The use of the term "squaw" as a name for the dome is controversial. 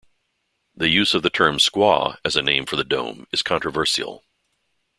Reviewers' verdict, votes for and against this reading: rejected, 0, 2